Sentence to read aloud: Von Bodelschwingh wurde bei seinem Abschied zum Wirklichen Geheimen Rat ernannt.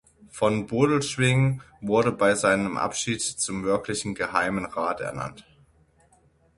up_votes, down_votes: 6, 0